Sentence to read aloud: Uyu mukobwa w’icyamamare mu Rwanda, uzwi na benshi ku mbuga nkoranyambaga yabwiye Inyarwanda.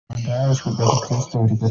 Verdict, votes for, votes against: rejected, 0, 2